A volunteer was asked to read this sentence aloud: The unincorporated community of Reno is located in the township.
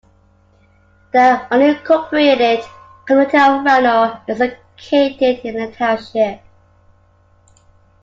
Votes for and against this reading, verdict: 1, 2, rejected